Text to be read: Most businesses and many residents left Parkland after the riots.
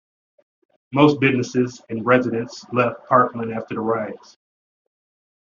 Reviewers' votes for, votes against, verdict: 0, 2, rejected